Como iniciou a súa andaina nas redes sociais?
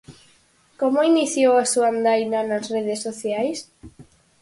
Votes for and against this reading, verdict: 4, 0, accepted